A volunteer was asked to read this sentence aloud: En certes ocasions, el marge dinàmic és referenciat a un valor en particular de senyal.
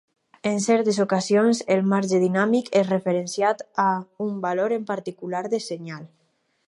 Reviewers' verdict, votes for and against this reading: accepted, 4, 0